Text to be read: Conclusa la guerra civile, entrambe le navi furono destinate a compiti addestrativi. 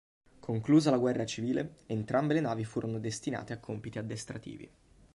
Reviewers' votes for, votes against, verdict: 3, 0, accepted